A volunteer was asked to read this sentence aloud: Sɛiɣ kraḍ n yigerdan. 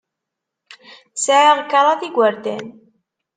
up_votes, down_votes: 2, 0